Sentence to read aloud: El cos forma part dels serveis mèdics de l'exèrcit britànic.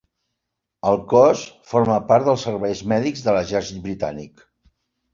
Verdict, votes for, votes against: accepted, 4, 1